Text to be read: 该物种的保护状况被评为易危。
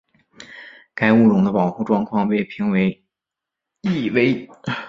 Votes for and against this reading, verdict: 4, 0, accepted